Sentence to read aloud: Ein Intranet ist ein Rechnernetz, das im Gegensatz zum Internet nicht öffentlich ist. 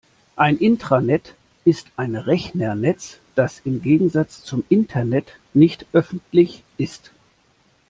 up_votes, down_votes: 2, 0